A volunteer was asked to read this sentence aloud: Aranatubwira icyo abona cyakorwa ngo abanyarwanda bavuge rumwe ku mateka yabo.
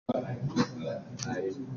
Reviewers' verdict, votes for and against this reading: rejected, 0, 2